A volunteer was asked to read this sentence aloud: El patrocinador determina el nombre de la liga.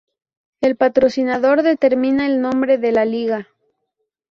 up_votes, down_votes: 2, 0